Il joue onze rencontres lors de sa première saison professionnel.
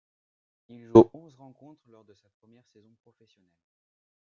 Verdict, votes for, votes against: rejected, 1, 2